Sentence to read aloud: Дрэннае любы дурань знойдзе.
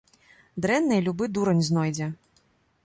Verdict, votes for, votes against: accepted, 2, 0